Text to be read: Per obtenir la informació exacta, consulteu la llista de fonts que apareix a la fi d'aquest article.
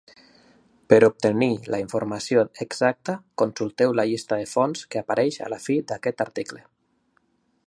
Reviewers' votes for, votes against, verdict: 3, 0, accepted